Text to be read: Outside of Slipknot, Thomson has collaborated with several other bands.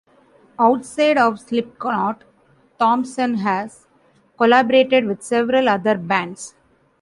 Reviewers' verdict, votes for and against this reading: rejected, 1, 2